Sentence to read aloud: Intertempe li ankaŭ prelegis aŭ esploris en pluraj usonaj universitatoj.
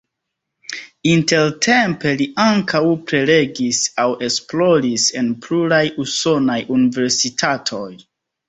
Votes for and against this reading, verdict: 2, 0, accepted